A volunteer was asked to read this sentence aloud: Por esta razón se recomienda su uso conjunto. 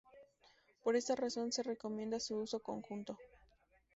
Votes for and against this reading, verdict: 2, 0, accepted